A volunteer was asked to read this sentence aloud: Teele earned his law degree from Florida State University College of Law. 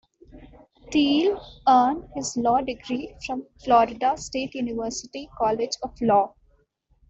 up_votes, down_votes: 2, 1